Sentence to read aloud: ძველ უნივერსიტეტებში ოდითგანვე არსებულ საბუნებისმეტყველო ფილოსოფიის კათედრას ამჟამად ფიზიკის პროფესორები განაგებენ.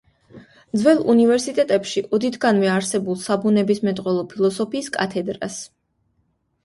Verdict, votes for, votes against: rejected, 1, 2